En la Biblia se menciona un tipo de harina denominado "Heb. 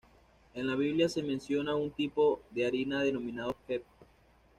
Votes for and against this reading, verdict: 2, 0, accepted